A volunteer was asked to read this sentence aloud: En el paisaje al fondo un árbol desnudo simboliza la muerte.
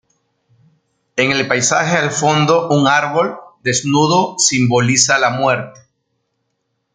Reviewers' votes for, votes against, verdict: 2, 0, accepted